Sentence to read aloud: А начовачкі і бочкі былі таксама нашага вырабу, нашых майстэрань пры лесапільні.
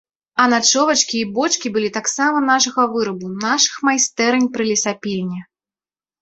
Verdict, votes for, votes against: accepted, 3, 0